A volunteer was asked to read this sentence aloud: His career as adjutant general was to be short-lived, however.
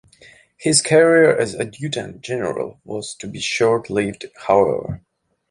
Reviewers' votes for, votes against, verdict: 0, 2, rejected